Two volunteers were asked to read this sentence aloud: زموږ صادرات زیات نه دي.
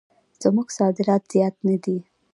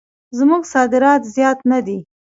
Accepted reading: second